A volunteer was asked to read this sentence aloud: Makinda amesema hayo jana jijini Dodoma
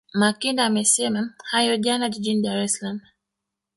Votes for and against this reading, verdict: 1, 2, rejected